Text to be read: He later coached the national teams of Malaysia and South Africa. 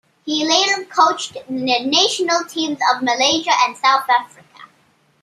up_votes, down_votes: 2, 0